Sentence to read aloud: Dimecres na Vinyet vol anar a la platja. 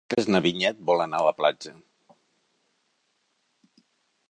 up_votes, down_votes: 0, 2